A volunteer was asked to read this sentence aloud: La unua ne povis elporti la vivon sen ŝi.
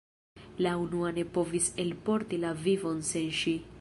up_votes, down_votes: 1, 2